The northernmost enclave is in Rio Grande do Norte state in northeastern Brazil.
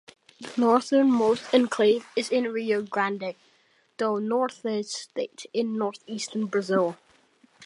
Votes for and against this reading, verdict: 1, 2, rejected